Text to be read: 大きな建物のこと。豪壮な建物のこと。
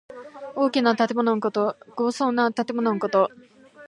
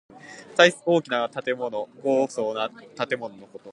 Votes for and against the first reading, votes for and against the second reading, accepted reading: 2, 1, 1, 2, first